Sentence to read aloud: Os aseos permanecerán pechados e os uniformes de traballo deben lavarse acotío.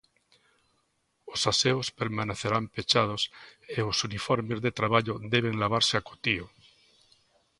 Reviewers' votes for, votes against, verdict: 2, 0, accepted